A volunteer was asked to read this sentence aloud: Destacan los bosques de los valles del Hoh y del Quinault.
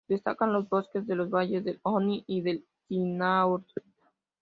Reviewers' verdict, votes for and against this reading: accepted, 2, 0